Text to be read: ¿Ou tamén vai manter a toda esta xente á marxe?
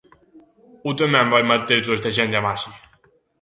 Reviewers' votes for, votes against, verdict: 1, 2, rejected